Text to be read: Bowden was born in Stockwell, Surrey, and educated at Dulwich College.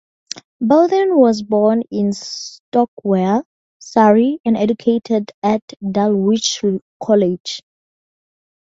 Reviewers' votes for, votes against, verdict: 0, 2, rejected